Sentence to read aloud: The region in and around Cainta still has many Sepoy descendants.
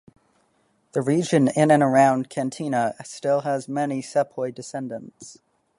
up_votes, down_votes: 0, 3